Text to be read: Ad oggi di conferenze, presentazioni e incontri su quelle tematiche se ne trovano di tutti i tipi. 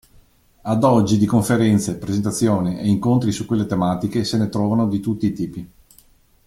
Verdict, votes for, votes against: accepted, 2, 1